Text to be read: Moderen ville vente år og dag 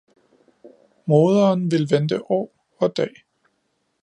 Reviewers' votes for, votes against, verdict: 2, 0, accepted